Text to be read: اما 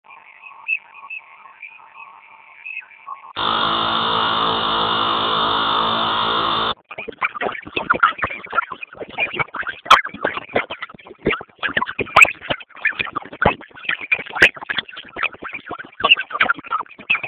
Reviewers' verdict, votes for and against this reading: rejected, 0, 2